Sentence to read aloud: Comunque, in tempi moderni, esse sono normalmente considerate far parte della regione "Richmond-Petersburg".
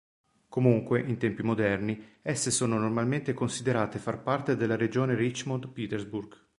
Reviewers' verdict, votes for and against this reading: accepted, 2, 0